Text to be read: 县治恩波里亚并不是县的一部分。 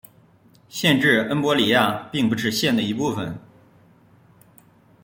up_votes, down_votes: 2, 0